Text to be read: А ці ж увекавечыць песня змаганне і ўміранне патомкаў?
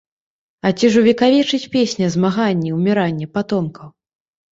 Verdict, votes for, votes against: accepted, 2, 0